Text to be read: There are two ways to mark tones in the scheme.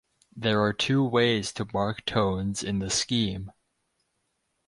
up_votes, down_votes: 4, 0